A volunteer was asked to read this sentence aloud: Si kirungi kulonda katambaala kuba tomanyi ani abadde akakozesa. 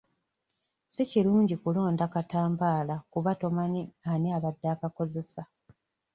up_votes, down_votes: 2, 0